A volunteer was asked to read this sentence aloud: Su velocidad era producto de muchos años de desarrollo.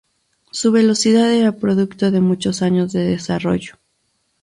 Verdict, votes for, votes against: accepted, 2, 0